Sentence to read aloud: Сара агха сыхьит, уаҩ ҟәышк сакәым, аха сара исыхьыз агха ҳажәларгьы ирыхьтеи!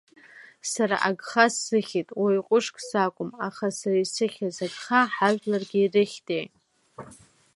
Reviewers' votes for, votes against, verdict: 1, 2, rejected